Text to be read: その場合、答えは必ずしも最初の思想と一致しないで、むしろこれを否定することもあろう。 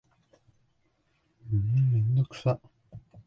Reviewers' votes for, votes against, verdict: 1, 7, rejected